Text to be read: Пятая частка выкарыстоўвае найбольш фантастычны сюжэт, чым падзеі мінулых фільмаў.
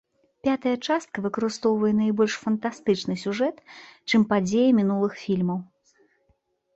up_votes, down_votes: 2, 0